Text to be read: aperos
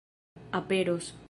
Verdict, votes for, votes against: accepted, 2, 1